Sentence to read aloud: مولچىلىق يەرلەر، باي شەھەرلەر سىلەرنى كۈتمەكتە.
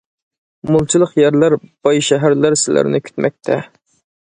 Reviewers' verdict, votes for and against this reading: accepted, 2, 0